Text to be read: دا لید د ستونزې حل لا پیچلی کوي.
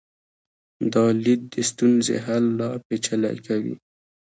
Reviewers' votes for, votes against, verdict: 0, 2, rejected